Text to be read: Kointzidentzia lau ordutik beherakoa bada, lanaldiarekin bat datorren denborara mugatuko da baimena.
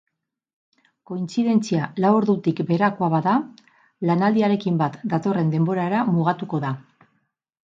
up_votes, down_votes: 2, 4